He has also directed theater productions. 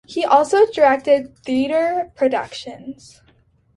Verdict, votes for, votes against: rejected, 0, 2